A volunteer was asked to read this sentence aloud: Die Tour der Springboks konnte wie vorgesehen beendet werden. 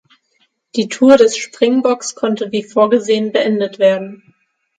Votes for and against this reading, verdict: 3, 6, rejected